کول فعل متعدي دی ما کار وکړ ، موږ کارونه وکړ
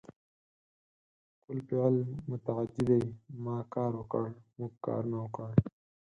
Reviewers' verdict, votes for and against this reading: accepted, 4, 0